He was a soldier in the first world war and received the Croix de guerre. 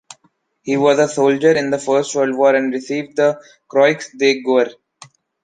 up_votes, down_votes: 2, 0